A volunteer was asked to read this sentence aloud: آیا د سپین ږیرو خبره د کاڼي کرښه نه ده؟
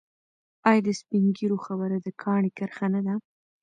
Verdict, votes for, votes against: accepted, 2, 0